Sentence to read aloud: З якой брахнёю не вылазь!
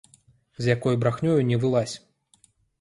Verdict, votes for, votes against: accepted, 2, 0